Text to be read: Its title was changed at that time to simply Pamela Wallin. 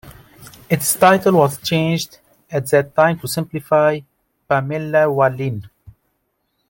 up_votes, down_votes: 0, 2